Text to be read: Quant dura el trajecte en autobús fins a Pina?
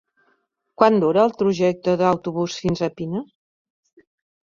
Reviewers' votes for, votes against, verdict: 0, 2, rejected